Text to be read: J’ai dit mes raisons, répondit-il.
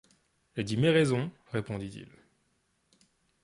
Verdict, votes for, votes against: rejected, 1, 2